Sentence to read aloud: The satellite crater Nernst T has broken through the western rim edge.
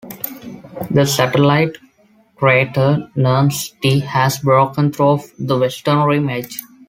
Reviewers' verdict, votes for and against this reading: accepted, 2, 0